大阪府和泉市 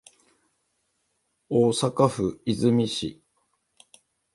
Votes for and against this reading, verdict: 2, 0, accepted